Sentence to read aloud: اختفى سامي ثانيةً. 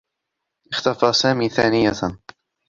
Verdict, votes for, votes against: accepted, 2, 0